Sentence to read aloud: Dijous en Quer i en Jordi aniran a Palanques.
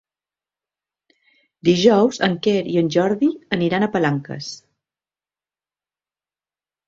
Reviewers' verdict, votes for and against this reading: accepted, 3, 0